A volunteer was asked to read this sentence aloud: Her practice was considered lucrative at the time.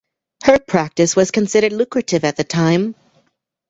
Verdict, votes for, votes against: accepted, 2, 0